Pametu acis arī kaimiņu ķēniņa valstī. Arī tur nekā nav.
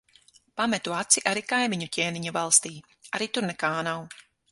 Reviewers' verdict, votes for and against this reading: rejected, 0, 6